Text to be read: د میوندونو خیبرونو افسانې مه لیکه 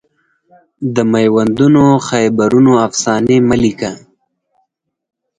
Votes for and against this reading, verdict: 2, 4, rejected